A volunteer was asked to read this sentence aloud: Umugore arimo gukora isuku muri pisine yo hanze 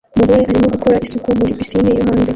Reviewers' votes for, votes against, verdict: 0, 2, rejected